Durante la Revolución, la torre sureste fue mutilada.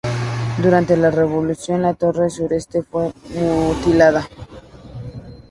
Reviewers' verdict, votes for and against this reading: accepted, 2, 0